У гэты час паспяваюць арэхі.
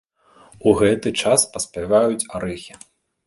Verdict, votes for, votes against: accepted, 2, 0